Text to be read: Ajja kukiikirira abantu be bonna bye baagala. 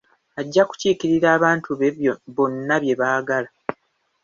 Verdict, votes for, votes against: rejected, 1, 2